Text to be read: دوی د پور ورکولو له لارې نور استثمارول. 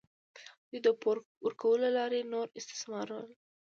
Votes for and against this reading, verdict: 2, 0, accepted